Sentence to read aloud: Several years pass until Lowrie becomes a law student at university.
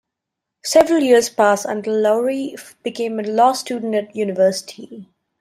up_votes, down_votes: 2, 1